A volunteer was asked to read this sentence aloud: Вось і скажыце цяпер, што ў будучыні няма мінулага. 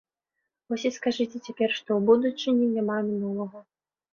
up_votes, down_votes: 2, 0